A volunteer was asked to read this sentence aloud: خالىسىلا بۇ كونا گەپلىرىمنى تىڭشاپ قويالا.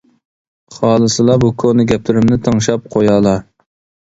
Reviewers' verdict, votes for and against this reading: accepted, 2, 0